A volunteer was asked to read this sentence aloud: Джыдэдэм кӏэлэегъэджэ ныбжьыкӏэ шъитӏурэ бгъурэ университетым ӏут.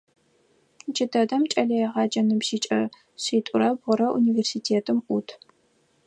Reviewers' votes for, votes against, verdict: 4, 0, accepted